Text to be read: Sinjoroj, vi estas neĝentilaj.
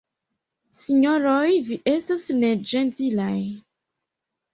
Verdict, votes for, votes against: rejected, 0, 2